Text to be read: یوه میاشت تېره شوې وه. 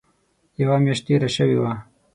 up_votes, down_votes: 6, 0